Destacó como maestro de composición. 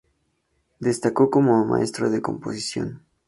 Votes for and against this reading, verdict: 2, 0, accepted